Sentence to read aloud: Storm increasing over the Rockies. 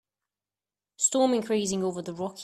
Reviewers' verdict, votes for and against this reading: rejected, 0, 2